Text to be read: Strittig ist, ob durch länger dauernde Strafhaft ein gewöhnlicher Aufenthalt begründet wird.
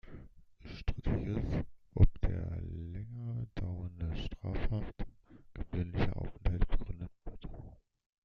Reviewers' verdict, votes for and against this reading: rejected, 0, 2